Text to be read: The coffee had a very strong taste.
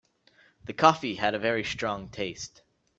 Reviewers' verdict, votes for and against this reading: accepted, 3, 0